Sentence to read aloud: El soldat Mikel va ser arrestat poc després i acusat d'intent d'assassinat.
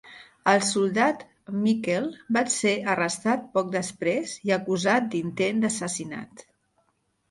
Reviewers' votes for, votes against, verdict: 2, 1, accepted